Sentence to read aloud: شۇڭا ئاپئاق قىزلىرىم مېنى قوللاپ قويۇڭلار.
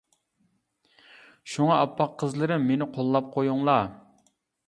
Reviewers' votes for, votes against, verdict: 2, 0, accepted